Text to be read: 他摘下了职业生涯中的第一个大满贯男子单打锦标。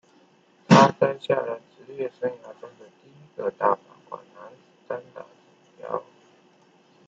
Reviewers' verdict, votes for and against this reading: rejected, 1, 2